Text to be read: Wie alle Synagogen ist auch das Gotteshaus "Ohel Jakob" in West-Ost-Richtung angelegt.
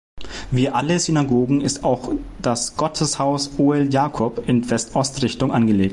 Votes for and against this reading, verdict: 0, 2, rejected